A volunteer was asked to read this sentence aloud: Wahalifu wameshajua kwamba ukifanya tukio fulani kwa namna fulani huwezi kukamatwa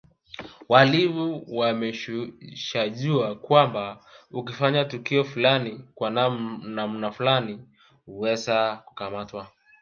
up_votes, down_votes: 0, 2